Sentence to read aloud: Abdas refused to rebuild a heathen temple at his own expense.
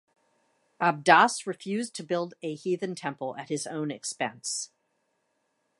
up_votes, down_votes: 0, 2